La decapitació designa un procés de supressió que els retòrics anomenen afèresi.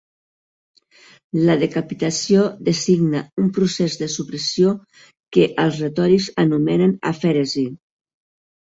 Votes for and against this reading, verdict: 2, 0, accepted